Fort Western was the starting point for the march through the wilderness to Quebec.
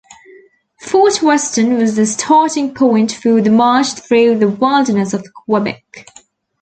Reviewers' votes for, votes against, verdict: 1, 2, rejected